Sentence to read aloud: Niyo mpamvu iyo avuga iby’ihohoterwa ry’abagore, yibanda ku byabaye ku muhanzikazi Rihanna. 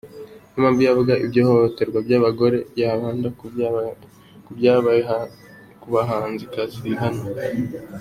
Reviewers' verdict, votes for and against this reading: rejected, 0, 2